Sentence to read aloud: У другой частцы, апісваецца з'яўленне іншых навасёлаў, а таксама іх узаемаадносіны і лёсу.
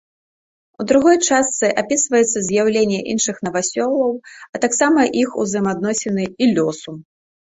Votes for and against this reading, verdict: 0, 2, rejected